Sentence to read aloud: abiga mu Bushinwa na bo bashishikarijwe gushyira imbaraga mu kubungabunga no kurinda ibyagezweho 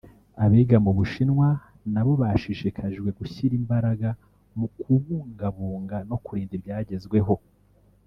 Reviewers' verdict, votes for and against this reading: rejected, 0, 2